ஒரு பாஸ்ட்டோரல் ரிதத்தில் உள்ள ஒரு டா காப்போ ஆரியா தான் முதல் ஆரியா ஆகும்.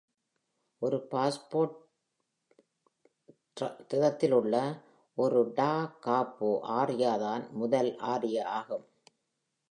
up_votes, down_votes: 1, 2